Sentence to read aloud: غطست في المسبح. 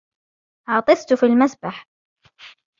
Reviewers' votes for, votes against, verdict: 3, 1, accepted